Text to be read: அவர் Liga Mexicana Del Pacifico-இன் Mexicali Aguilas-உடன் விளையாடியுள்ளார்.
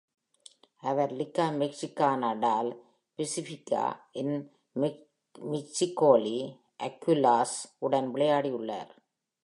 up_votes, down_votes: 1, 2